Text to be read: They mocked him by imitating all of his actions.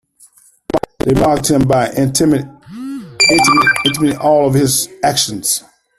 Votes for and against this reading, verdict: 0, 2, rejected